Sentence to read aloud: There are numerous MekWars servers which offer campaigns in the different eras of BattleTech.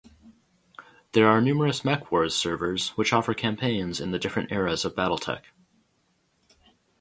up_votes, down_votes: 2, 0